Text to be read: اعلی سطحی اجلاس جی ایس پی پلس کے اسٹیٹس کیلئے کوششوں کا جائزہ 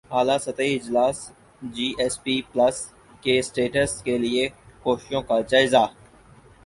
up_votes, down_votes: 4, 0